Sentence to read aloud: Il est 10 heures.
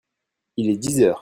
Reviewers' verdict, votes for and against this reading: rejected, 0, 2